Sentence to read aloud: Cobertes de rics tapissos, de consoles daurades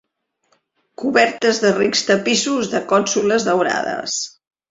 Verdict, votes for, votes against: rejected, 0, 2